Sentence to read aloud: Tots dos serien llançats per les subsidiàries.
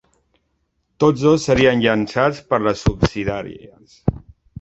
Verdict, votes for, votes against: rejected, 1, 2